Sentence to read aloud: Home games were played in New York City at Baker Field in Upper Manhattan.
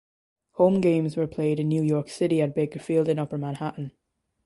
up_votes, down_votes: 2, 0